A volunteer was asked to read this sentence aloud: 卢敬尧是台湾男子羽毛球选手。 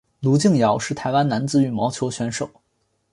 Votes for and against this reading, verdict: 0, 2, rejected